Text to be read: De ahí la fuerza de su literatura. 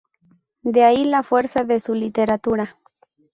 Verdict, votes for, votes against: accepted, 2, 0